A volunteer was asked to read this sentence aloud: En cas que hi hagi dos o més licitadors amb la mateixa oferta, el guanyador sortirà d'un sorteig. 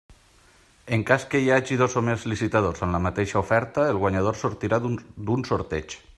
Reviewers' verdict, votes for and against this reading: rejected, 1, 3